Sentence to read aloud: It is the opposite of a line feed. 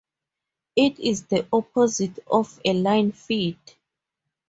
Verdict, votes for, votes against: accepted, 2, 0